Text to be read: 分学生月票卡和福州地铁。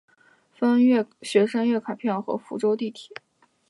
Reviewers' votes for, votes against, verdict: 1, 4, rejected